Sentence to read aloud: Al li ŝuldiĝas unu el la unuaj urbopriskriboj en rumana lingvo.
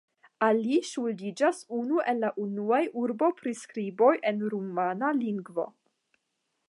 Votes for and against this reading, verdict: 0, 5, rejected